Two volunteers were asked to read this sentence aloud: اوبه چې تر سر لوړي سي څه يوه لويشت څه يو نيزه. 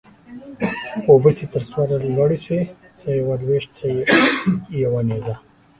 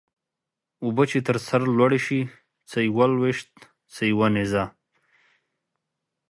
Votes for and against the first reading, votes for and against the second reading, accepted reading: 0, 2, 2, 0, second